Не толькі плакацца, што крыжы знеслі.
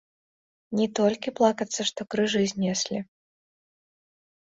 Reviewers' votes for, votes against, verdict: 0, 2, rejected